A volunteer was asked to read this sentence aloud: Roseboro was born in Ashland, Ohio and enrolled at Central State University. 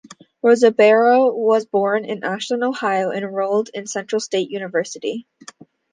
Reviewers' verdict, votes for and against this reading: rejected, 0, 2